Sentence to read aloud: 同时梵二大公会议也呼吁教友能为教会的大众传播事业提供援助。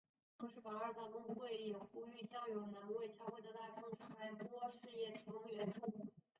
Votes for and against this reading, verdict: 0, 2, rejected